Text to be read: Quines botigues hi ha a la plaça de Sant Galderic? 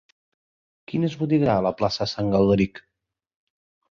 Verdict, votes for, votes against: rejected, 0, 2